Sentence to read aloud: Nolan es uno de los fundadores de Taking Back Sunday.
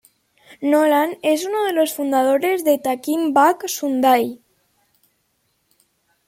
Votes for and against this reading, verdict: 2, 0, accepted